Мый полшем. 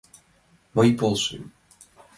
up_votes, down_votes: 2, 0